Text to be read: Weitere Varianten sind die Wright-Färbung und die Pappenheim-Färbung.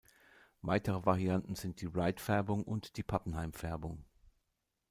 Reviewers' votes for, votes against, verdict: 2, 0, accepted